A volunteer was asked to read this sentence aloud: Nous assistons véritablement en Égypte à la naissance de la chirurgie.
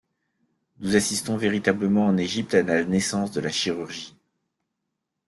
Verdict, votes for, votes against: accepted, 2, 0